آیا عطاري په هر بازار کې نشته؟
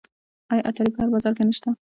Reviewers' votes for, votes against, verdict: 0, 2, rejected